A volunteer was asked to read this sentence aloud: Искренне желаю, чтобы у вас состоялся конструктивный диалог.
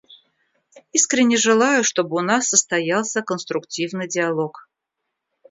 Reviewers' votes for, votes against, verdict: 0, 2, rejected